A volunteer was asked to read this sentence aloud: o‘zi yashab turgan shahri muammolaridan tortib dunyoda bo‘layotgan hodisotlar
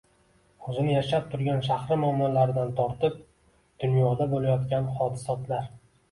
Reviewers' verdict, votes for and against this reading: rejected, 0, 2